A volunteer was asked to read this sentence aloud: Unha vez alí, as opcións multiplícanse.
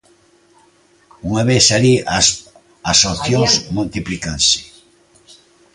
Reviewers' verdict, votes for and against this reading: rejected, 1, 2